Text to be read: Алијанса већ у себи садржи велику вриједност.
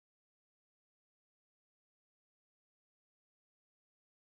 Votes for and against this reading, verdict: 0, 2, rejected